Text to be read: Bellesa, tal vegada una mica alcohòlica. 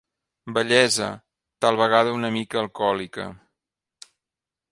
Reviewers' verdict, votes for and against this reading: rejected, 1, 2